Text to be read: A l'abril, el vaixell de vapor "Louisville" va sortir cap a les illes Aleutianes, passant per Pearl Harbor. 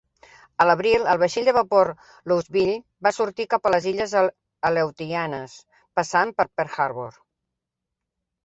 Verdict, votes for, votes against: rejected, 1, 2